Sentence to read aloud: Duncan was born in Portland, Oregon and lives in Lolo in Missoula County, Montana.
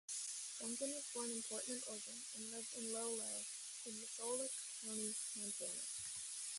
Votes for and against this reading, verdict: 1, 2, rejected